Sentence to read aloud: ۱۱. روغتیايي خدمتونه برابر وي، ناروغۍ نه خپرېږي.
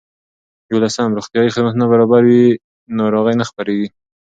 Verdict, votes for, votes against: rejected, 0, 2